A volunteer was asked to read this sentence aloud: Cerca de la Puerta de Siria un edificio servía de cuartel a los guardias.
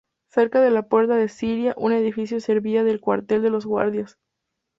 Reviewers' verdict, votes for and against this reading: rejected, 0, 2